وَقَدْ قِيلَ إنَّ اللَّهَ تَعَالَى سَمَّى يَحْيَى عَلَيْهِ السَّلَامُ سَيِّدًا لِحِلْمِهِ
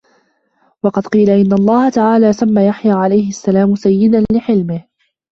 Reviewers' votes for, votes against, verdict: 0, 2, rejected